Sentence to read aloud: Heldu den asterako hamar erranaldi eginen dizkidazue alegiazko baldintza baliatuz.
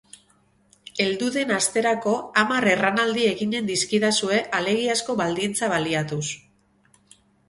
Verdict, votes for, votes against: accepted, 8, 0